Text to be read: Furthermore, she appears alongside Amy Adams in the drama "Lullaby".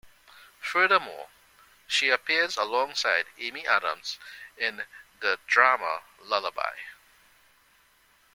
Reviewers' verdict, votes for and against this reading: accepted, 2, 0